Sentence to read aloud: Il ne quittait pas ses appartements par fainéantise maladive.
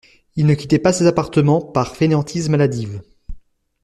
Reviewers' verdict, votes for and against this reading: accepted, 2, 0